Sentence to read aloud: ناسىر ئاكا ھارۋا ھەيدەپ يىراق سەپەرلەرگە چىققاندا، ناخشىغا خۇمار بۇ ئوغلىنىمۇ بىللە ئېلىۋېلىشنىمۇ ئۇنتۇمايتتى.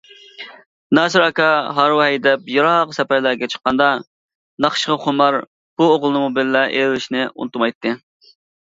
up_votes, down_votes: 0, 2